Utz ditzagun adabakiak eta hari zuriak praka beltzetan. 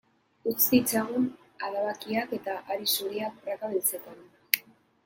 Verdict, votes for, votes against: accepted, 2, 0